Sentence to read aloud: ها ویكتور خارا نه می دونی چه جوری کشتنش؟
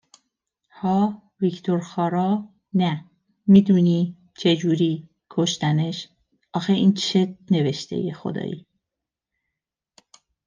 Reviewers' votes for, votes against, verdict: 0, 2, rejected